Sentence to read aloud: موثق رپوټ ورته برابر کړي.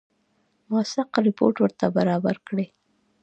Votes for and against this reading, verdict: 2, 1, accepted